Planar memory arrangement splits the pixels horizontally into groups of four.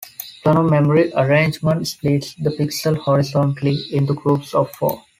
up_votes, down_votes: 1, 2